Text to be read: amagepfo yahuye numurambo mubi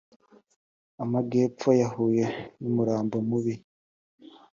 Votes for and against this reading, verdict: 2, 0, accepted